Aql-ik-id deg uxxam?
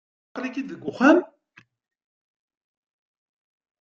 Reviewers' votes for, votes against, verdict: 2, 0, accepted